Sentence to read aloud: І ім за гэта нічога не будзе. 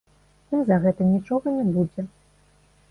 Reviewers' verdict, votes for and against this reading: rejected, 0, 2